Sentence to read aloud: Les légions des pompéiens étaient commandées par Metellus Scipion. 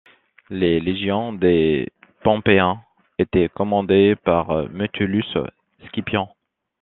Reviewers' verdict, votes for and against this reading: rejected, 1, 2